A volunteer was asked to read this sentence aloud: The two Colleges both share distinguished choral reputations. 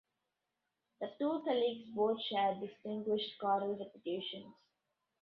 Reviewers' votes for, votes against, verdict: 0, 2, rejected